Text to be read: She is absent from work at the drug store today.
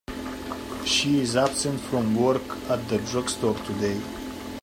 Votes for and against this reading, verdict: 2, 0, accepted